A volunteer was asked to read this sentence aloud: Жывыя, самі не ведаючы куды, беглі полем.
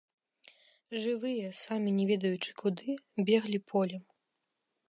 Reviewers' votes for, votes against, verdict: 0, 2, rejected